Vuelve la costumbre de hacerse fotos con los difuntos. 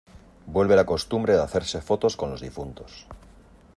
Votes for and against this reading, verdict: 2, 0, accepted